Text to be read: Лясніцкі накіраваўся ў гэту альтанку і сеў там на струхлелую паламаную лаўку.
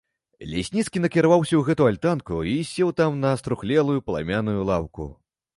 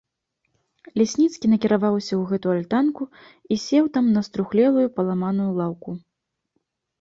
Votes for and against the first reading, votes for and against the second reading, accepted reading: 1, 3, 2, 0, second